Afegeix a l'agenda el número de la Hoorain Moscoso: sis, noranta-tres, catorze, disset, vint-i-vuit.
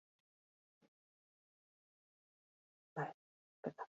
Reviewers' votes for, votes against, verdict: 0, 2, rejected